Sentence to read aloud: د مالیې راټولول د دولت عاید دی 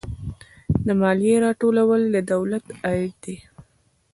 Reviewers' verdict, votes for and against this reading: rejected, 1, 2